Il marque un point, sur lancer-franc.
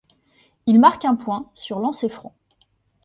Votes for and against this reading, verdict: 2, 0, accepted